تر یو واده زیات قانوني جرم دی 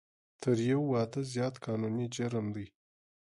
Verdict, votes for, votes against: accepted, 2, 0